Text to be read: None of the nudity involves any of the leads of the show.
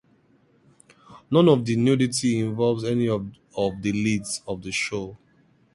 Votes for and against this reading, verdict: 0, 2, rejected